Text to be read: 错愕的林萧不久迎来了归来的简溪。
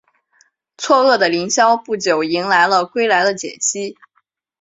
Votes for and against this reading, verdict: 2, 0, accepted